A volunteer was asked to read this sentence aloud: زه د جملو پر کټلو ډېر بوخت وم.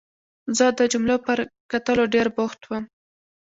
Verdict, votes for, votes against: accepted, 2, 0